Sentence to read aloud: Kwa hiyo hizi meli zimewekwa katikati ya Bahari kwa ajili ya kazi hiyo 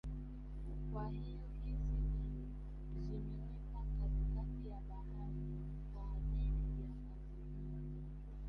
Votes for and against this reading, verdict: 1, 2, rejected